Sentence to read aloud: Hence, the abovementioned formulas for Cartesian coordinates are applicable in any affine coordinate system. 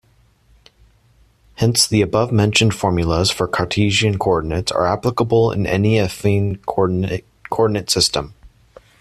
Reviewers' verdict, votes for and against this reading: rejected, 1, 2